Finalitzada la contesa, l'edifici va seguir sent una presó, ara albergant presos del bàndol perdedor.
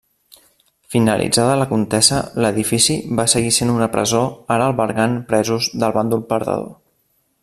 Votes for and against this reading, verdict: 1, 2, rejected